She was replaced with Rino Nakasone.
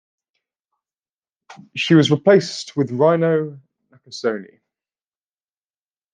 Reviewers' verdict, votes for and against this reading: rejected, 1, 2